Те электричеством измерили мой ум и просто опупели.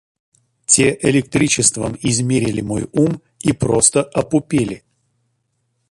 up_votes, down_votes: 2, 0